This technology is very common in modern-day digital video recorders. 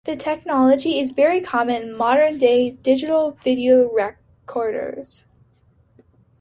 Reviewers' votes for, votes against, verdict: 2, 0, accepted